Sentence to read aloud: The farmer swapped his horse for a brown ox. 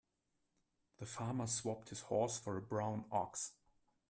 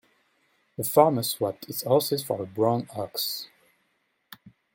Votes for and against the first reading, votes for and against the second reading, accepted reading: 2, 1, 0, 2, first